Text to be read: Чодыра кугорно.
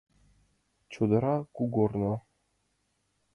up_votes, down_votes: 2, 0